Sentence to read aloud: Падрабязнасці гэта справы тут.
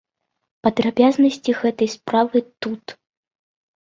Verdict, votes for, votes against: accepted, 2, 0